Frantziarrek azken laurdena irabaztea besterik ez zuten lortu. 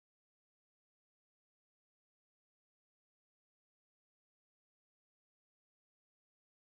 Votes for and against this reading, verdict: 0, 4, rejected